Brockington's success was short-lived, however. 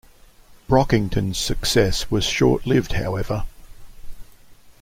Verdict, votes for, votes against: accepted, 2, 0